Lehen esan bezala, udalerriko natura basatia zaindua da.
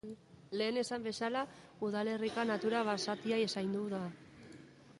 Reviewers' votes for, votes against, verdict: 0, 2, rejected